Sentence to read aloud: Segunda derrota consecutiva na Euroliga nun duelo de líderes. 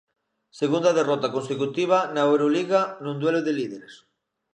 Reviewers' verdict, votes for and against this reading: accepted, 2, 0